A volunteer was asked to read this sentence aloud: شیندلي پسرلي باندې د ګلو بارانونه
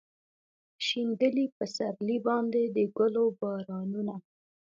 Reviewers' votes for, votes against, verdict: 0, 2, rejected